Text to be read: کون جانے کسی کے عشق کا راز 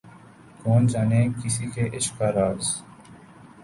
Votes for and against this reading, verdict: 5, 0, accepted